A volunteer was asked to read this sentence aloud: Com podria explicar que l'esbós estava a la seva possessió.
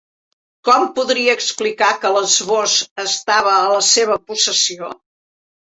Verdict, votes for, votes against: accepted, 3, 1